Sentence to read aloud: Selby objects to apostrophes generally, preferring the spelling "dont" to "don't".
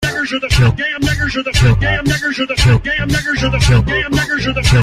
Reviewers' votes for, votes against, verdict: 0, 2, rejected